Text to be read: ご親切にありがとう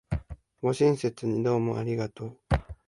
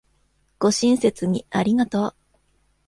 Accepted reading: second